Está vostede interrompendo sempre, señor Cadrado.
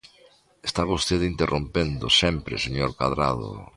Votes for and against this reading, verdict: 2, 0, accepted